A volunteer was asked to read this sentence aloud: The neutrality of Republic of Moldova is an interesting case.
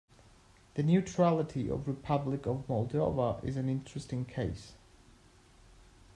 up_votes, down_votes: 2, 0